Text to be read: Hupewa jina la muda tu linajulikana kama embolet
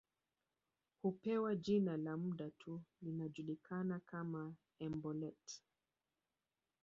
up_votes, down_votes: 1, 2